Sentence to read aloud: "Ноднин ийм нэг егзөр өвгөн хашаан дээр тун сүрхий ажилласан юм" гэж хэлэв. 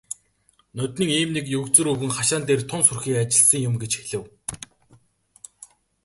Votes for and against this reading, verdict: 2, 1, accepted